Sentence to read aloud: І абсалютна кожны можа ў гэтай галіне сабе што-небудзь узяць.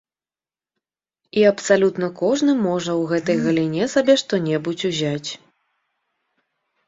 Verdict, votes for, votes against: accepted, 2, 0